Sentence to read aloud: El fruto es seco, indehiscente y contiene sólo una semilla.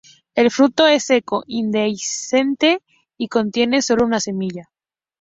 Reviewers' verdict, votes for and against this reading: accepted, 2, 0